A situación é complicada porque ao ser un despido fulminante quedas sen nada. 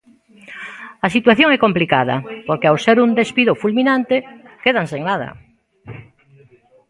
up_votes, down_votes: 0, 2